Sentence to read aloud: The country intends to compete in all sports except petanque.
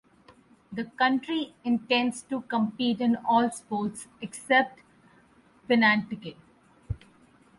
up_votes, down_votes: 0, 4